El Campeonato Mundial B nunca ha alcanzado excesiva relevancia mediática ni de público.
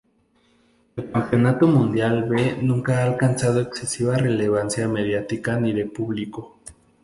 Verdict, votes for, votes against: rejected, 0, 2